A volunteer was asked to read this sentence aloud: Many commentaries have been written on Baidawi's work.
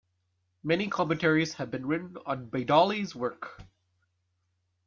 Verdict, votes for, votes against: accepted, 3, 0